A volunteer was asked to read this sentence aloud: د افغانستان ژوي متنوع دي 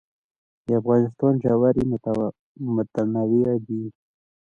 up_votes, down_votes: 2, 0